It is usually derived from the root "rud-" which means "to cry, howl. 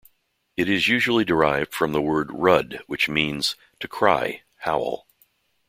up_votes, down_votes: 0, 2